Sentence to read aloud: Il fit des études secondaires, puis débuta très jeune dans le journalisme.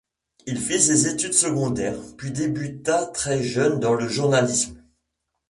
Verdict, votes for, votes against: accepted, 3, 2